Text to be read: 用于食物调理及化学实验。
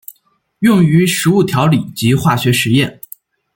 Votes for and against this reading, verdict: 2, 0, accepted